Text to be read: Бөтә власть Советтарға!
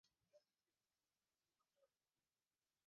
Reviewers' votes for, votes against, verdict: 0, 2, rejected